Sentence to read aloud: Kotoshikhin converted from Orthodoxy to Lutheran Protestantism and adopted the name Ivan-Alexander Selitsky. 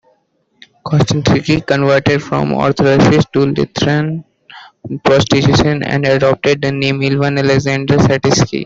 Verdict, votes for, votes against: rejected, 0, 2